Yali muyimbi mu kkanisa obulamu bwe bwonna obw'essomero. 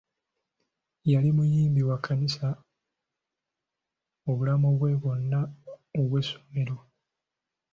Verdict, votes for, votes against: rejected, 1, 2